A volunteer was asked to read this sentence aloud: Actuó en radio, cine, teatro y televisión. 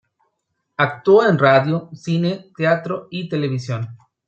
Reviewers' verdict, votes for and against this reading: accepted, 2, 0